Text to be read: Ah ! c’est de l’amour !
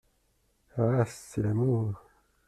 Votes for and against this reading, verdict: 0, 2, rejected